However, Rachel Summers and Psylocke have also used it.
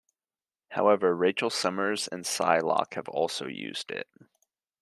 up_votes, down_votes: 2, 0